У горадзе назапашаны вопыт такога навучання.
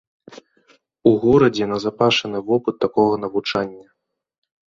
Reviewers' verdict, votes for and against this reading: accepted, 2, 0